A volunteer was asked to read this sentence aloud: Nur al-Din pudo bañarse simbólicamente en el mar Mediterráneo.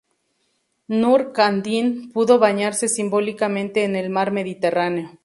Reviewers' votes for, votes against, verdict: 2, 2, rejected